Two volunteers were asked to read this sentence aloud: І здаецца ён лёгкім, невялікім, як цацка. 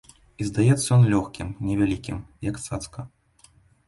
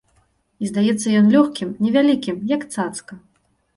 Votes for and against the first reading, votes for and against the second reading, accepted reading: 0, 2, 2, 0, second